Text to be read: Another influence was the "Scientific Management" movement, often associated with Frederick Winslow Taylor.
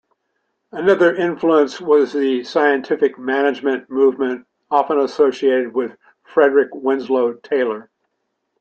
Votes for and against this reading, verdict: 2, 1, accepted